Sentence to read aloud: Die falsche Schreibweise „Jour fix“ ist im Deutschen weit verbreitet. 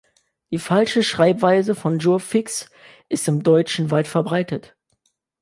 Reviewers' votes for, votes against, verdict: 1, 2, rejected